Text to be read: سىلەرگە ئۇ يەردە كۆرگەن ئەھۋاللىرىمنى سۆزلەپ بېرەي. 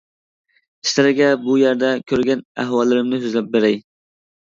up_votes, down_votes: 0, 2